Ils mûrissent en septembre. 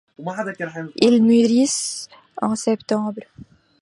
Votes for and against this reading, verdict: 0, 2, rejected